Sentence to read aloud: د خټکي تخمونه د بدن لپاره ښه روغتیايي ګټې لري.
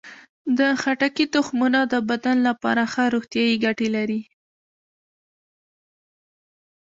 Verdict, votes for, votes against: accepted, 2, 0